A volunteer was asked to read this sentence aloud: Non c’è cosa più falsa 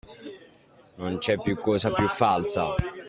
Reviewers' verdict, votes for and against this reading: rejected, 1, 2